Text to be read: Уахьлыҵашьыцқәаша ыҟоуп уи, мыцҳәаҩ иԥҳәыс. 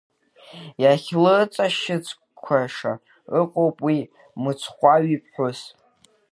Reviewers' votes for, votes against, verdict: 0, 2, rejected